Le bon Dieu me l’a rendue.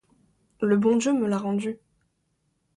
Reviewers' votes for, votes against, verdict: 2, 0, accepted